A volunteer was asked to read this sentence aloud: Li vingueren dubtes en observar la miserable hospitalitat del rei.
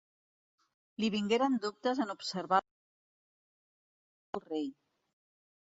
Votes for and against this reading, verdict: 0, 2, rejected